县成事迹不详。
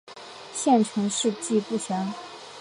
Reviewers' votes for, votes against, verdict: 1, 2, rejected